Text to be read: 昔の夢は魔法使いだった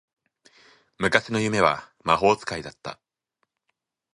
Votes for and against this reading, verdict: 5, 0, accepted